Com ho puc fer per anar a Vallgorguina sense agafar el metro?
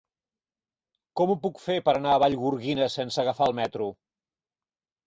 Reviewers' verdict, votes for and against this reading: accepted, 4, 0